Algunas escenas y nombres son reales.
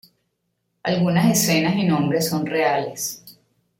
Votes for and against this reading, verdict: 2, 0, accepted